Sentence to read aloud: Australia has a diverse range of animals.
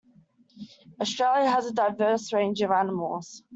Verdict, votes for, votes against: accepted, 2, 0